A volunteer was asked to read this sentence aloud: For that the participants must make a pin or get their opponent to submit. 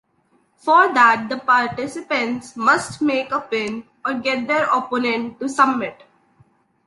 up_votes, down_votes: 1, 2